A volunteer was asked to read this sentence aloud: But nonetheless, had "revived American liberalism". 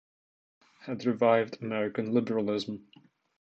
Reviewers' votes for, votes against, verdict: 0, 2, rejected